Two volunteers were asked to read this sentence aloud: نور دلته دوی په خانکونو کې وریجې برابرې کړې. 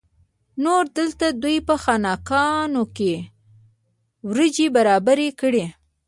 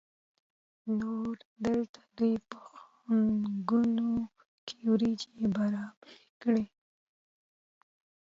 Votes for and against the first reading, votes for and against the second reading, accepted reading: 2, 0, 1, 2, first